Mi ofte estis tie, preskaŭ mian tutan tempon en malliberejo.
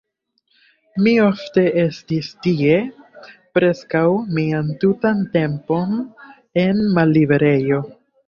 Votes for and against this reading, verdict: 2, 0, accepted